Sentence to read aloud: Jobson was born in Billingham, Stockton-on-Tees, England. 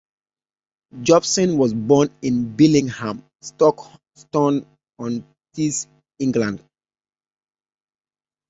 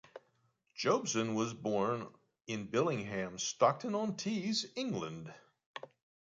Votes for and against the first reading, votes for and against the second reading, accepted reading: 0, 2, 2, 0, second